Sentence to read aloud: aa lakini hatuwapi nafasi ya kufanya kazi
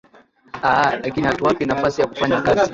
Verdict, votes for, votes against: rejected, 4, 5